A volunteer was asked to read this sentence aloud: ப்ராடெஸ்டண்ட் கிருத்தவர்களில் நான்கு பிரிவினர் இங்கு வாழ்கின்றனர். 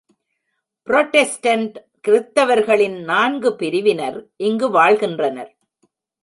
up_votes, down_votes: 1, 2